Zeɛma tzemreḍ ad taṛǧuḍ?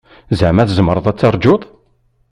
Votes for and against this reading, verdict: 2, 0, accepted